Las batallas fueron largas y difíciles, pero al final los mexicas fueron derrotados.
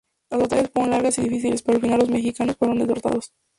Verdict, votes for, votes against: rejected, 0, 2